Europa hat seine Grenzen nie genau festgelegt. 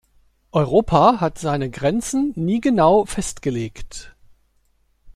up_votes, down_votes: 2, 0